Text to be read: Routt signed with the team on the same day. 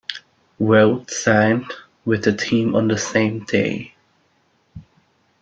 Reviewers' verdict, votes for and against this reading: accepted, 2, 0